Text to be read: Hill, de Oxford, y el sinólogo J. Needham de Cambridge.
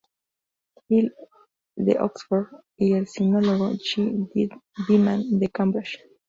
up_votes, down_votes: 0, 2